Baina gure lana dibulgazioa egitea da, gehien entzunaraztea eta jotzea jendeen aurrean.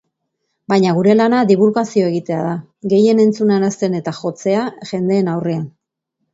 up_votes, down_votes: 1, 2